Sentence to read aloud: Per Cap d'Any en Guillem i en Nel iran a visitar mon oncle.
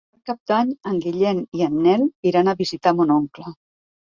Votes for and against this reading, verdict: 1, 2, rejected